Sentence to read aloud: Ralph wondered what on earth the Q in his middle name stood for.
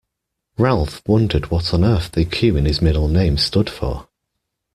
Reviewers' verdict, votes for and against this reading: accepted, 2, 0